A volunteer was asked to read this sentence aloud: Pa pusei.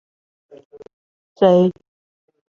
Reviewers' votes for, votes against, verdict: 0, 2, rejected